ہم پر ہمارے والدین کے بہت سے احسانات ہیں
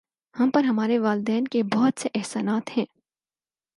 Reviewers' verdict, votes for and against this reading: accepted, 4, 0